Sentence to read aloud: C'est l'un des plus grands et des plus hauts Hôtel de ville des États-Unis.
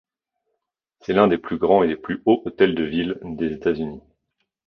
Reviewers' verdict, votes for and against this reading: rejected, 0, 2